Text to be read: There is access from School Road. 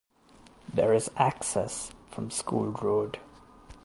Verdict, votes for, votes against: accepted, 2, 0